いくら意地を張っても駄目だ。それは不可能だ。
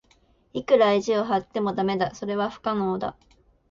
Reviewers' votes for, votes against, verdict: 3, 0, accepted